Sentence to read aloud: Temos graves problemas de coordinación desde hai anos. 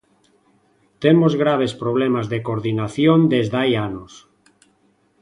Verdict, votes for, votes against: accepted, 2, 0